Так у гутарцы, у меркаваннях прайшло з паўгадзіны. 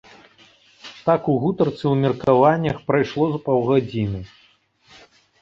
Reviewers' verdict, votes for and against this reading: accepted, 3, 0